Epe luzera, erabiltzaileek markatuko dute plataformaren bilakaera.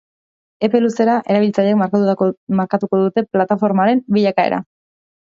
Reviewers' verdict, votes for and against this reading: rejected, 0, 2